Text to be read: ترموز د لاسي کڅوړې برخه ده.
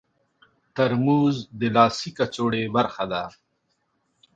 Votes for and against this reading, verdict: 2, 0, accepted